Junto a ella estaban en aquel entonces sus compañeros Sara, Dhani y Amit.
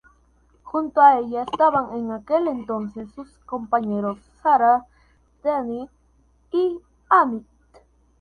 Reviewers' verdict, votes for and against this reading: accepted, 2, 0